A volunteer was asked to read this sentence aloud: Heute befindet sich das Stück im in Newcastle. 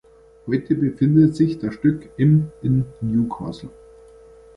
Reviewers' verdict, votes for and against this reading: rejected, 0, 2